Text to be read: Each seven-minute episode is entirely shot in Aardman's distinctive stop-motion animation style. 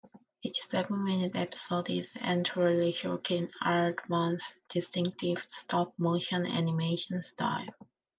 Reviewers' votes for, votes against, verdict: 2, 3, rejected